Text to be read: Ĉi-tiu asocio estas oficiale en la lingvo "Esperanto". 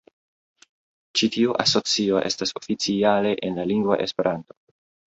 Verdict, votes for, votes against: accepted, 2, 0